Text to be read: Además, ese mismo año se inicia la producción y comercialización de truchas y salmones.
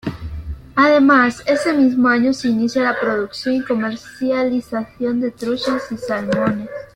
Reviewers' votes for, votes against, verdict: 0, 2, rejected